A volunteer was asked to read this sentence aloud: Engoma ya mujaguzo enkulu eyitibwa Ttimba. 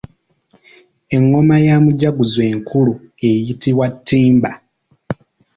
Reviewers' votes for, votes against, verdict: 2, 0, accepted